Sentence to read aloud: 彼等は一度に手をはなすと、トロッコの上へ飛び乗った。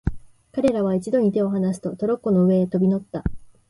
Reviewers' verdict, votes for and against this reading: accepted, 2, 0